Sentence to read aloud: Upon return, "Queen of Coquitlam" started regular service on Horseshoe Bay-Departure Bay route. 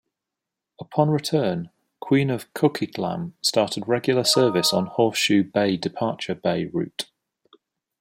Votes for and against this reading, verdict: 2, 0, accepted